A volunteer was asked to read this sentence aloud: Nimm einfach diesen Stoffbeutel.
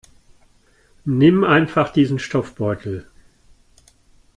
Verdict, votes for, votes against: accepted, 2, 0